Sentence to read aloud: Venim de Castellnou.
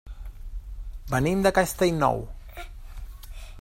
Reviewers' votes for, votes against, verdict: 0, 2, rejected